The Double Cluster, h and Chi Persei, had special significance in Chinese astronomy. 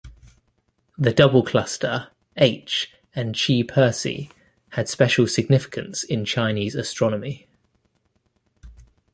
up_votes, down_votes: 2, 0